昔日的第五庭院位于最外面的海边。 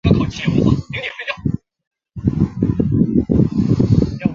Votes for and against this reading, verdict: 0, 3, rejected